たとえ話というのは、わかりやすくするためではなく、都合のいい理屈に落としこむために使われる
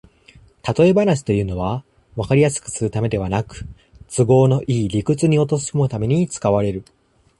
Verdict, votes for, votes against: rejected, 0, 2